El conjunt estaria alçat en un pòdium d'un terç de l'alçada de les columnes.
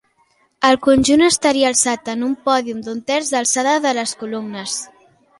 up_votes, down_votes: 2, 3